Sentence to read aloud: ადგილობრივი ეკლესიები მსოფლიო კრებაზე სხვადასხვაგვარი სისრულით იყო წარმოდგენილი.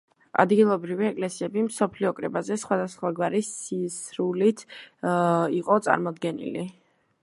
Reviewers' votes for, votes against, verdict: 2, 1, accepted